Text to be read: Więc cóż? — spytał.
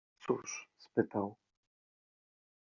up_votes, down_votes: 0, 2